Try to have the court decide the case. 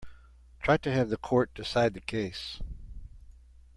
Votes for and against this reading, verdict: 2, 0, accepted